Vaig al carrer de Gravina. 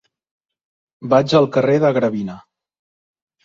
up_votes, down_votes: 3, 0